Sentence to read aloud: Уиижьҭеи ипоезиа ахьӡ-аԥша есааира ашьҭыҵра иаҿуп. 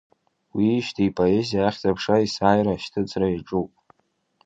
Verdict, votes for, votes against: accepted, 2, 0